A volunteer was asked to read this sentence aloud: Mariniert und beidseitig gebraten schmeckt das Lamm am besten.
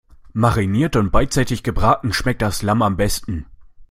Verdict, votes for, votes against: accepted, 2, 0